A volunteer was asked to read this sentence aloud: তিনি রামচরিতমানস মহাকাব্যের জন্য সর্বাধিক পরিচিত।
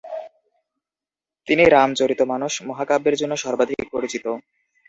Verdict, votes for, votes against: accepted, 4, 0